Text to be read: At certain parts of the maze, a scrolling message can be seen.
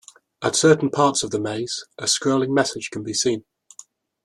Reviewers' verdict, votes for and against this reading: accepted, 2, 0